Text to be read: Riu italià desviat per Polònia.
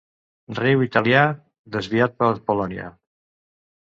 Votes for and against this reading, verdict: 2, 1, accepted